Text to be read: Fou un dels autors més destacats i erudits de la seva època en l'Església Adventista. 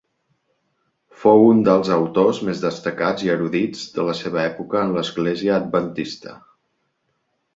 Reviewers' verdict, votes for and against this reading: accepted, 2, 0